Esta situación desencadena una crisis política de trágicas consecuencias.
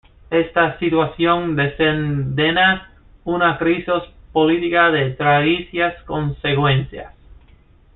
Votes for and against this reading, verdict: 1, 2, rejected